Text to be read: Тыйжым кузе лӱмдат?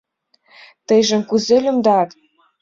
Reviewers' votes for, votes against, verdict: 2, 0, accepted